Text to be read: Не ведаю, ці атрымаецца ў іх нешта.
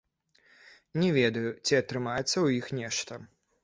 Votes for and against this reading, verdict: 1, 2, rejected